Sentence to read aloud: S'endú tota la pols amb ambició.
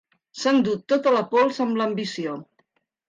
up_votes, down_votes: 0, 2